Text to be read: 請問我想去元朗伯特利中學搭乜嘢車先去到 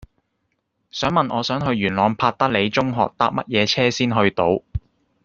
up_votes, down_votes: 1, 2